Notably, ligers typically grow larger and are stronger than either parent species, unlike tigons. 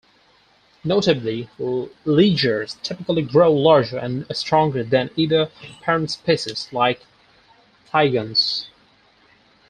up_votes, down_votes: 2, 6